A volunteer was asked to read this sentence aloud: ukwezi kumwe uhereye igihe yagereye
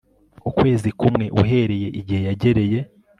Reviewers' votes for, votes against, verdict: 2, 0, accepted